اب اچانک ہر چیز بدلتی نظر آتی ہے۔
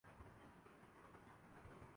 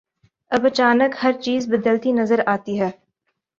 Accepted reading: second